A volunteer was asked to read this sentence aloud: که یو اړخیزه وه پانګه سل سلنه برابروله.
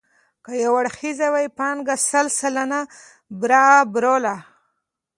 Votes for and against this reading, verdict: 0, 2, rejected